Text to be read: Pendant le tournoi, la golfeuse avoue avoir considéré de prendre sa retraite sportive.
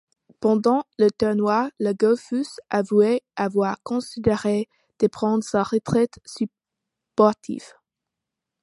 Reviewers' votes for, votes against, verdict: 2, 0, accepted